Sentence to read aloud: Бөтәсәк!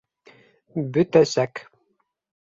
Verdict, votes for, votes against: accepted, 2, 0